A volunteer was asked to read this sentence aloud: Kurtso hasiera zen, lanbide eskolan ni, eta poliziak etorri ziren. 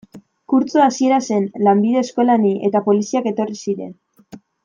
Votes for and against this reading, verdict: 2, 0, accepted